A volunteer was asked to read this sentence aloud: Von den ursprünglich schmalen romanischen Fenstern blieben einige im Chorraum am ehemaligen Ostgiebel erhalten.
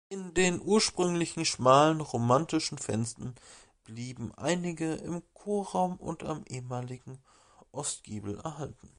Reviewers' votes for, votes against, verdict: 2, 4, rejected